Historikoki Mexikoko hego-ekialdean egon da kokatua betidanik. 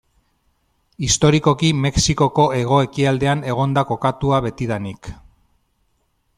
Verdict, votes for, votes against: accepted, 2, 0